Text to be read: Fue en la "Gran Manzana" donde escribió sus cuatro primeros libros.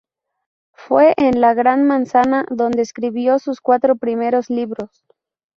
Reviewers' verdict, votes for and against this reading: rejected, 2, 2